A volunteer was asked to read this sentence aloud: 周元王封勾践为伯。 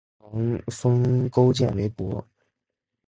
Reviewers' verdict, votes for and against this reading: rejected, 1, 2